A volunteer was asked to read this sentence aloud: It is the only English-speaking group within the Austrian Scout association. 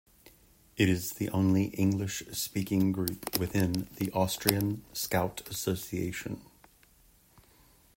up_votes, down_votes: 2, 0